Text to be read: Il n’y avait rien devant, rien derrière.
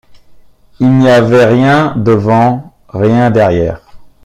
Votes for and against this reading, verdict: 2, 0, accepted